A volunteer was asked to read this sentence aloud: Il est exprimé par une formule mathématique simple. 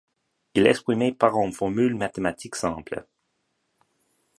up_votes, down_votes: 2, 1